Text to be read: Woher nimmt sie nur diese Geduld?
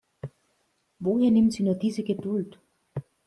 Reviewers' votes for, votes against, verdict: 2, 0, accepted